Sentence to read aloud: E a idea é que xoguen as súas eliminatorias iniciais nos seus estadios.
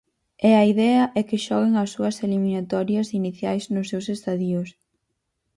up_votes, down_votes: 0, 4